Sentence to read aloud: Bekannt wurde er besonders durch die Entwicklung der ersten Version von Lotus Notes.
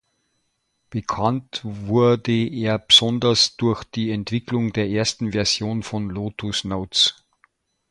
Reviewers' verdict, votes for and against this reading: rejected, 0, 2